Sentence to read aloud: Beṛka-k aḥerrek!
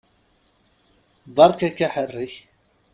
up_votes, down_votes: 3, 0